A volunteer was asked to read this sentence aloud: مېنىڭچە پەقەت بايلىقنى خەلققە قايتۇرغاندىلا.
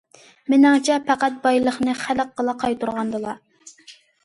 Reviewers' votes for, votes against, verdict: 0, 2, rejected